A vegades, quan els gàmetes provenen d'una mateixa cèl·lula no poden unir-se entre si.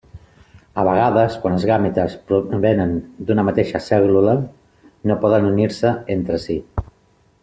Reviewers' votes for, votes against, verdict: 3, 0, accepted